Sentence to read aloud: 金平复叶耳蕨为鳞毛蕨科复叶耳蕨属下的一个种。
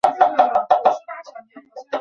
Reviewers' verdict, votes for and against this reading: rejected, 0, 2